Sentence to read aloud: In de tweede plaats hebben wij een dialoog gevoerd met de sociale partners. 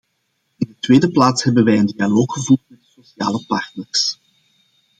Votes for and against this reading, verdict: 0, 2, rejected